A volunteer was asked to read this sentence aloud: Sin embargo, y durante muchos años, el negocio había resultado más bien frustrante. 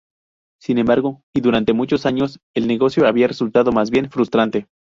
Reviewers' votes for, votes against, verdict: 2, 2, rejected